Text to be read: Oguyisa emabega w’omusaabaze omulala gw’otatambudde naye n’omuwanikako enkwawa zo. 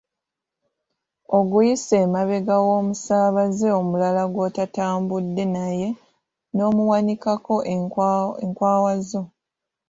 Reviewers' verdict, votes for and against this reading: rejected, 1, 2